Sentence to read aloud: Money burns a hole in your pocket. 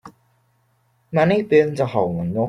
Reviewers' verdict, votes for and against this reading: rejected, 0, 2